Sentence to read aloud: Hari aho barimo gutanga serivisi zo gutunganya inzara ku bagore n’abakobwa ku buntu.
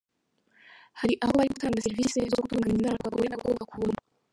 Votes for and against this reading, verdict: 0, 2, rejected